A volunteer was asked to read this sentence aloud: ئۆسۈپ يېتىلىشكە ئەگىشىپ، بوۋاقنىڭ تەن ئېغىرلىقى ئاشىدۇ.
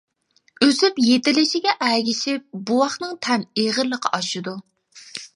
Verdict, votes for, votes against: rejected, 0, 2